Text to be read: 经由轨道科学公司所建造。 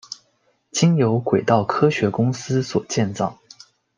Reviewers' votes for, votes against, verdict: 2, 0, accepted